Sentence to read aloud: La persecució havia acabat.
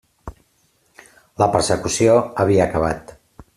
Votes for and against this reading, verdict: 3, 0, accepted